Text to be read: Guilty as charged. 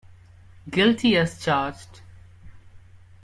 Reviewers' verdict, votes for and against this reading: accepted, 2, 0